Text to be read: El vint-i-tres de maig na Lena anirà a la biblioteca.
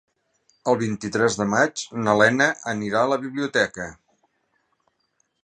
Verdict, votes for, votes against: accepted, 3, 0